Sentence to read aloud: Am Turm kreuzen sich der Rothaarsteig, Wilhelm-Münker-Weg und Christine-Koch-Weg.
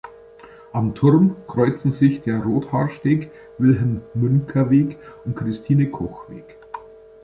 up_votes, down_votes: 1, 2